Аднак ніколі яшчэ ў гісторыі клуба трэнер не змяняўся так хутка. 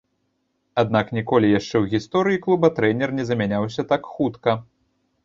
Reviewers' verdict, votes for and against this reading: rejected, 0, 2